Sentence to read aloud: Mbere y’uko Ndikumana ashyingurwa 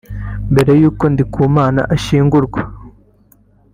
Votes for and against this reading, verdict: 2, 0, accepted